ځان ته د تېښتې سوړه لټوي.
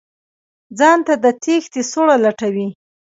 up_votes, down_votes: 0, 2